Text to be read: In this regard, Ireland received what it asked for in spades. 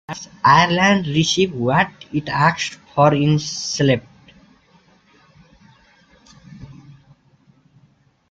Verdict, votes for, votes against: rejected, 0, 2